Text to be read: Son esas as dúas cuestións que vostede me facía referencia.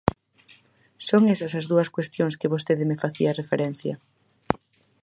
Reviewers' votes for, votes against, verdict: 4, 0, accepted